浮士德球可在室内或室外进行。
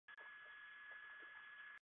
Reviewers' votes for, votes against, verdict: 0, 4, rejected